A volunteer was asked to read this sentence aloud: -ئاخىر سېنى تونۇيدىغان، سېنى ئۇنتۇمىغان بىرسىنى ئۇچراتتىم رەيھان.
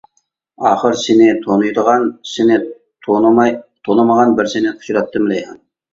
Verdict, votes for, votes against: rejected, 0, 2